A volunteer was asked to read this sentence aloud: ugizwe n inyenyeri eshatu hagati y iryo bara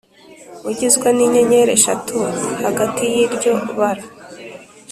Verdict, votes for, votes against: accepted, 3, 0